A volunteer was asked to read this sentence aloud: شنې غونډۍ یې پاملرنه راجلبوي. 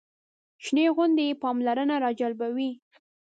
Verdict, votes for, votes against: rejected, 0, 2